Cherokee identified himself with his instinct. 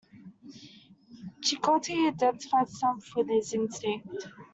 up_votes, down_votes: 1, 2